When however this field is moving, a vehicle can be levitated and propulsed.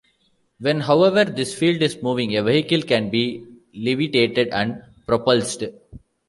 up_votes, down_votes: 3, 0